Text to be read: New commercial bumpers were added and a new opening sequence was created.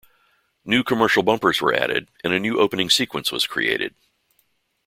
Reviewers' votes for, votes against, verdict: 2, 0, accepted